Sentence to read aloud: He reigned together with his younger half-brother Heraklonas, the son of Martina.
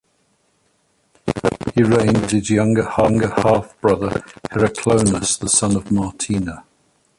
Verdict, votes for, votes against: rejected, 0, 2